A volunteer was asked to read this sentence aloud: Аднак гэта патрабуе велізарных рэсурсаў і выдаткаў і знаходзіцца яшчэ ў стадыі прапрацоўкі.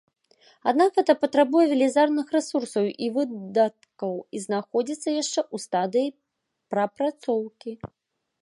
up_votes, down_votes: 0, 2